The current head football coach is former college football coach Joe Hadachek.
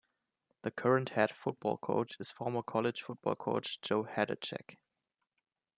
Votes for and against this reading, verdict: 2, 0, accepted